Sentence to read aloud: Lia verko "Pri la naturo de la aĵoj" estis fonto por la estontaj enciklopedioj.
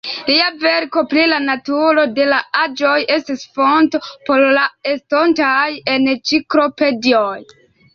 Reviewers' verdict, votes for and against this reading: rejected, 0, 2